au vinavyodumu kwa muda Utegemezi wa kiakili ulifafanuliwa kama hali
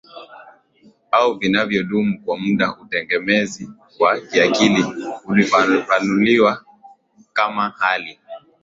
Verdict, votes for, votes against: accepted, 2, 0